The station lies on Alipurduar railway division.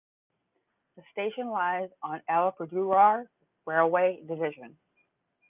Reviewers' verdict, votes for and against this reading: rejected, 5, 10